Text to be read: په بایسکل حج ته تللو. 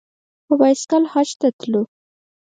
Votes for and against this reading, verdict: 4, 0, accepted